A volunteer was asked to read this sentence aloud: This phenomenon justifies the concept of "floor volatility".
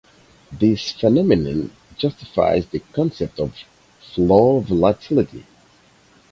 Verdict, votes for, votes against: accepted, 4, 0